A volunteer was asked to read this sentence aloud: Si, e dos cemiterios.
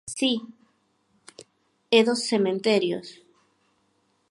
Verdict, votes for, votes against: rejected, 2, 4